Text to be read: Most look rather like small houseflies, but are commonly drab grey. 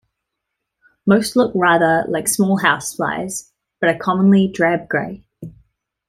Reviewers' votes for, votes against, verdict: 2, 0, accepted